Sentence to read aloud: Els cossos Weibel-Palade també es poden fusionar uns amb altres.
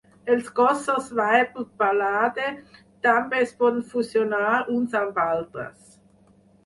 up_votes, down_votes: 2, 4